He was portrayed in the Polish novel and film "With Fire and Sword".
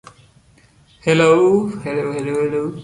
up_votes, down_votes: 1, 2